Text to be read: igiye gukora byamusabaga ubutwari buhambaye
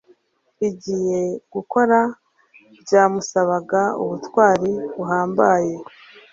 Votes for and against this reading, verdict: 3, 1, accepted